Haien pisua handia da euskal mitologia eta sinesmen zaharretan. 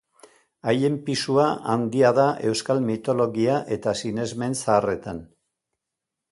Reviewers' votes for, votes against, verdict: 2, 0, accepted